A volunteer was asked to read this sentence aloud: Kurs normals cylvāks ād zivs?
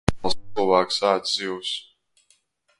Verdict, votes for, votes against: rejected, 0, 2